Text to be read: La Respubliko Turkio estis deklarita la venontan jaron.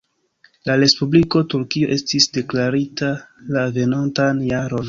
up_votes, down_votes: 0, 2